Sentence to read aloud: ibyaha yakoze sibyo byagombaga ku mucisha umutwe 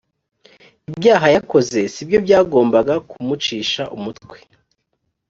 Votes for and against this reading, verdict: 3, 0, accepted